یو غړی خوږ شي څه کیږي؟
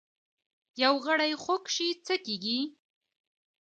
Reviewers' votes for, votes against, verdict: 2, 1, accepted